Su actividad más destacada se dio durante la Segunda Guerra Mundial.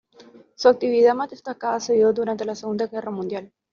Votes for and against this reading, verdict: 2, 0, accepted